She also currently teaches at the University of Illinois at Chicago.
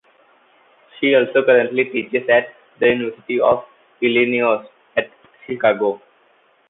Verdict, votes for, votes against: accepted, 2, 1